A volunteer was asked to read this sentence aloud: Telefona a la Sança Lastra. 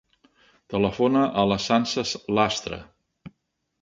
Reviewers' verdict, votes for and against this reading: rejected, 0, 2